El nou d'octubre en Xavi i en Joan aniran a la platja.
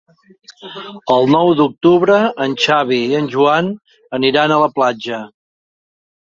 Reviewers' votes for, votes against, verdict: 2, 0, accepted